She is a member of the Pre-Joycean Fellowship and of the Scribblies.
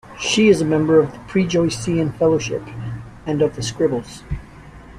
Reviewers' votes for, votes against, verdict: 0, 2, rejected